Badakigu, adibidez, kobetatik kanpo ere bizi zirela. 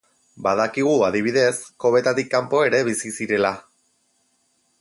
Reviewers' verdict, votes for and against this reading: accepted, 4, 0